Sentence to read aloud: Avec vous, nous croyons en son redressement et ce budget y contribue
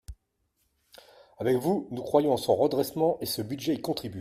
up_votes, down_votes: 2, 0